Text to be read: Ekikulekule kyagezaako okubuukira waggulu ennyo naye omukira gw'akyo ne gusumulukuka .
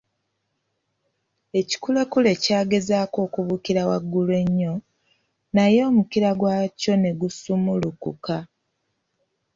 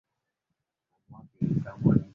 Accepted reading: first